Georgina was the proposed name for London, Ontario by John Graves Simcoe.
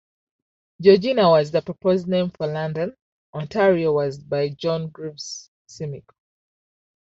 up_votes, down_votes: 1, 2